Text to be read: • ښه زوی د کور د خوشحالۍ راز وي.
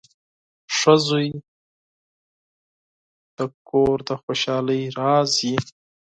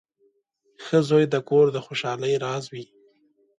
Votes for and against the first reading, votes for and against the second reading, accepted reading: 2, 4, 3, 0, second